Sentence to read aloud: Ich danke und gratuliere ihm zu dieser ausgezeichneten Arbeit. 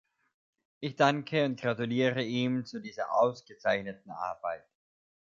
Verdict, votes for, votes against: accepted, 2, 0